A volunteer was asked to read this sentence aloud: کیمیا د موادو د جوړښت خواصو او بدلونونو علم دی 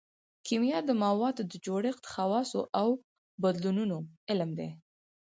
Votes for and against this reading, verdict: 2, 4, rejected